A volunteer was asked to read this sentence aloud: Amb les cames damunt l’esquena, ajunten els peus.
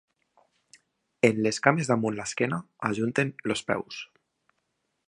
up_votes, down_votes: 0, 3